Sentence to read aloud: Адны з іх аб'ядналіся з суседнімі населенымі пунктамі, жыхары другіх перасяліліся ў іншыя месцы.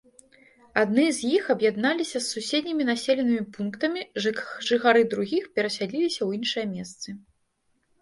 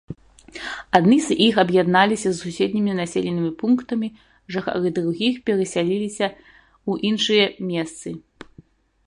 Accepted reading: second